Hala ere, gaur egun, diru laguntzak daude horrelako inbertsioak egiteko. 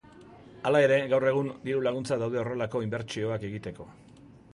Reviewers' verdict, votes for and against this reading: accepted, 3, 0